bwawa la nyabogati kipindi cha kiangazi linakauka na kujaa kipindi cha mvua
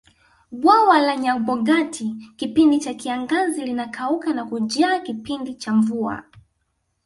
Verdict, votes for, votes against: accepted, 2, 0